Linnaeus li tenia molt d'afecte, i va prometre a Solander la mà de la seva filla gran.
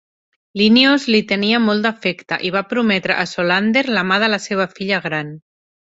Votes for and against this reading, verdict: 3, 0, accepted